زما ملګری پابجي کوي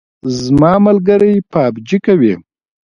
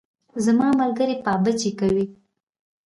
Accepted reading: first